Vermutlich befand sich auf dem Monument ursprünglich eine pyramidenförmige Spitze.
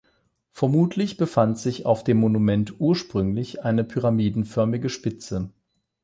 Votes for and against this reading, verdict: 8, 0, accepted